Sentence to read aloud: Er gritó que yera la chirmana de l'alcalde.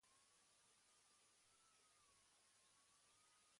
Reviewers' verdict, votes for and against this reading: rejected, 1, 2